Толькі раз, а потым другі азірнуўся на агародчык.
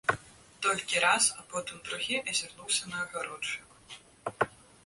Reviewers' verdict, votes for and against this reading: rejected, 1, 2